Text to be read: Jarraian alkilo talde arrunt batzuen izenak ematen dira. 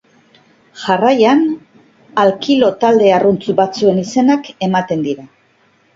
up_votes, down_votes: 3, 0